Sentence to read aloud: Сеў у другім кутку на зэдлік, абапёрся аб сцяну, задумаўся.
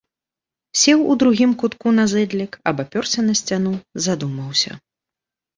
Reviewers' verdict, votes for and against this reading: rejected, 0, 2